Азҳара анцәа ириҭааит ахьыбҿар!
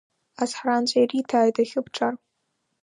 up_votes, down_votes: 1, 2